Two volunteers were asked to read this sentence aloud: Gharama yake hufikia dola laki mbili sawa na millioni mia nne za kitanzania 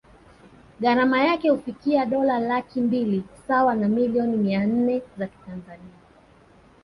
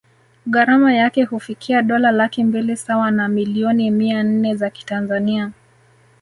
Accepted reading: second